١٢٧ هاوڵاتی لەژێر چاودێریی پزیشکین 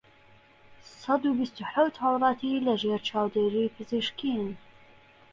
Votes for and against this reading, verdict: 0, 2, rejected